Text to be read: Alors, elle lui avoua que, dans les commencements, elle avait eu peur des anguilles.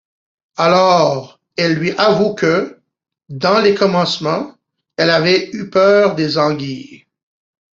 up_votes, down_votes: 1, 2